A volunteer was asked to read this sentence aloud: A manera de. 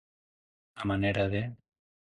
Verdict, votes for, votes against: accepted, 2, 0